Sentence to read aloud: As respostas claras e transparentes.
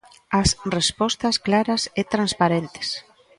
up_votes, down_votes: 2, 0